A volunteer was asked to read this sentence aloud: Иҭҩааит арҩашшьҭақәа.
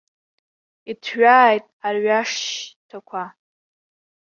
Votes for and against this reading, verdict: 0, 2, rejected